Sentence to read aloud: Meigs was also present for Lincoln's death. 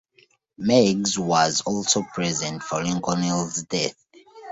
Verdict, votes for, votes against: rejected, 1, 2